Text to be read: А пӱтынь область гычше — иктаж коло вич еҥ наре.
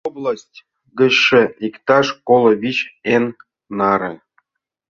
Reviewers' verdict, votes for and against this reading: accepted, 2, 1